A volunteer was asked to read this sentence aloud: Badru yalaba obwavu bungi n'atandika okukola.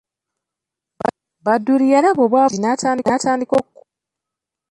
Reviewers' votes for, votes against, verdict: 0, 2, rejected